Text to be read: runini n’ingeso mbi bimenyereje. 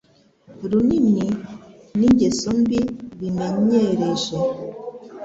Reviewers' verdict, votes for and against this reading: accepted, 2, 0